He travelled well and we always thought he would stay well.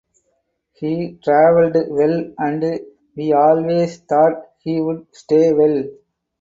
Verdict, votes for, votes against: rejected, 0, 4